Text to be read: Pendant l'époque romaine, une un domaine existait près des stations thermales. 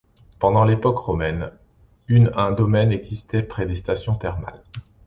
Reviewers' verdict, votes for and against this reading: accepted, 2, 0